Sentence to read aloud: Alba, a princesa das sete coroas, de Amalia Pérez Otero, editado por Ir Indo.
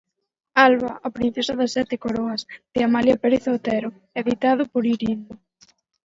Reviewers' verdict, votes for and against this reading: accepted, 4, 0